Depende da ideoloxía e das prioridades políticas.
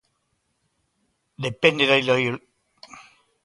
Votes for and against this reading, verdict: 0, 2, rejected